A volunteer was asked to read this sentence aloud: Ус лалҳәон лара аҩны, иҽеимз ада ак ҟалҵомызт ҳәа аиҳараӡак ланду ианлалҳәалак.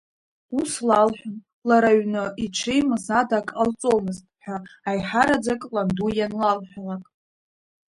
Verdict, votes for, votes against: accepted, 2, 0